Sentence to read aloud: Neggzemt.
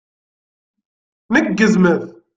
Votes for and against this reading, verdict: 0, 2, rejected